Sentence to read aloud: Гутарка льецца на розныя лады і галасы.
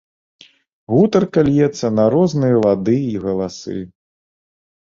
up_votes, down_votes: 2, 0